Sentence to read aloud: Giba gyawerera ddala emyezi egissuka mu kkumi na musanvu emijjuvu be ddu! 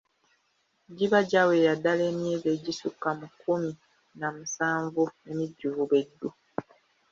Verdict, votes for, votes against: rejected, 0, 2